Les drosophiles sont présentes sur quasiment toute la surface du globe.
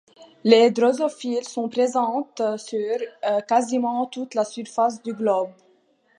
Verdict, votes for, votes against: accepted, 2, 0